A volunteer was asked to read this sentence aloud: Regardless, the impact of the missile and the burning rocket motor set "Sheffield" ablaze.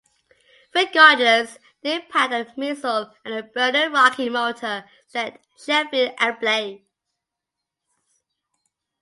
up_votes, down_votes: 0, 2